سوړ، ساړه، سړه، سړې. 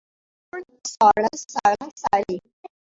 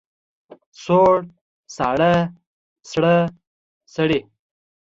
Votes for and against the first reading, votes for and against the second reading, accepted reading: 1, 2, 2, 0, second